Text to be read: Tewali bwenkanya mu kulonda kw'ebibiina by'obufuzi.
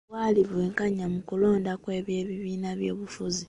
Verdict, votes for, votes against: rejected, 1, 2